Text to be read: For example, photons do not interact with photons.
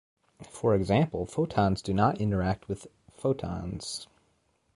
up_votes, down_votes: 2, 0